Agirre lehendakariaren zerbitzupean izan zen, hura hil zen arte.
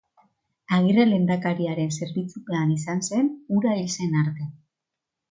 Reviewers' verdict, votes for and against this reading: accepted, 2, 0